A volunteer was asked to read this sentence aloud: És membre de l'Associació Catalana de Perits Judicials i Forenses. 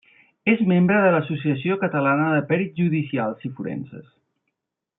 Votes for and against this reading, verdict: 3, 0, accepted